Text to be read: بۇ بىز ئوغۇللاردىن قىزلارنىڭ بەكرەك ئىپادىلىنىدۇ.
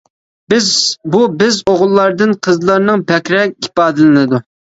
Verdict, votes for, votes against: rejected, 0, 2